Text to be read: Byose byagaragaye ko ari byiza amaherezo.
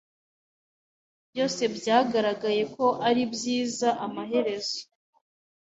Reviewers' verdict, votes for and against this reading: accepted, 2, 0